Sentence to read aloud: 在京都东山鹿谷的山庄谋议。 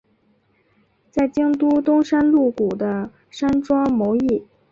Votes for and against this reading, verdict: 2, 0, accepted